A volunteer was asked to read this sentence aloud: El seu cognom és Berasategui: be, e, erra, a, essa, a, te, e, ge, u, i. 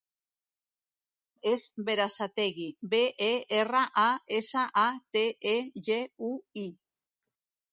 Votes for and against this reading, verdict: 0, 2, rejected